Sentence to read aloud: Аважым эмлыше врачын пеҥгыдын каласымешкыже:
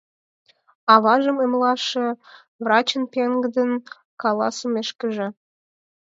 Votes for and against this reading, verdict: 2, 4, rejected